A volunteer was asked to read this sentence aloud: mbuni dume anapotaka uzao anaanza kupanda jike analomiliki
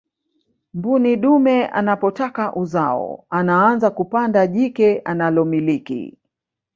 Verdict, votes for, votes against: rejected, 0, 2